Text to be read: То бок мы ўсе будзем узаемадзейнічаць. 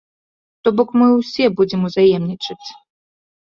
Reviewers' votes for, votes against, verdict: 0, 2, rejected